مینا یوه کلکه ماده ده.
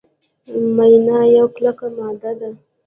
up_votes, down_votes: 2, 1